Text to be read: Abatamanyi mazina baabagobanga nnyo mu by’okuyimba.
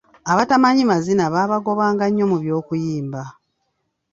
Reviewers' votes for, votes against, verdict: 2, 0, accepted